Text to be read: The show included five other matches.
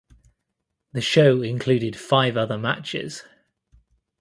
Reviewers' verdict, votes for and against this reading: accepted, 2, 0